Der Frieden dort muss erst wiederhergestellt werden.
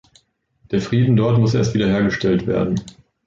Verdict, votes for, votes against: accepted, 2, 0